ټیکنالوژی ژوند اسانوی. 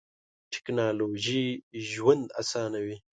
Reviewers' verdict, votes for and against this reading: accepted, 2, 0